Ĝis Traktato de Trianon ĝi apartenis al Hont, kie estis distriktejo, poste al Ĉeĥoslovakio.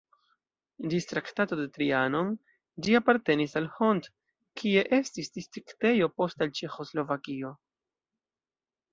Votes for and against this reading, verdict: 0, 2, rejected